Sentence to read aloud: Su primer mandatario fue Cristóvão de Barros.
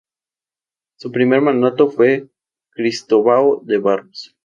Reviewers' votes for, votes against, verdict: 0, 2, rejected